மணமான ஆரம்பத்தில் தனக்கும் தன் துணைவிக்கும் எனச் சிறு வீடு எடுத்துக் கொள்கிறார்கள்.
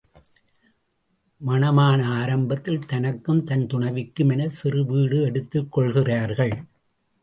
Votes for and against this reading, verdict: 0, 2, rejected